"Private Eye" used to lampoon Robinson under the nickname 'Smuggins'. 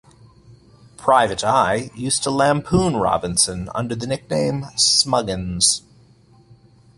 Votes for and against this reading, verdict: 2, 1, accepted